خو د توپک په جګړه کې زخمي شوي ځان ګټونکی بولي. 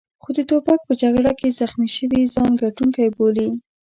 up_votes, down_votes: 2, 0